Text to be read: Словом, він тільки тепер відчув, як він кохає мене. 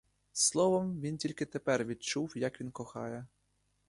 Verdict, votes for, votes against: rejected, 0, 2